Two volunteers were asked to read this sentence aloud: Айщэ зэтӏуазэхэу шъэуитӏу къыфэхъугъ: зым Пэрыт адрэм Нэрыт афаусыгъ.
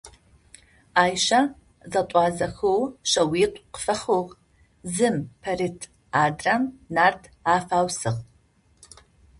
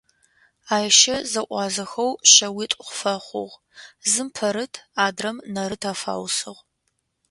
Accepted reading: second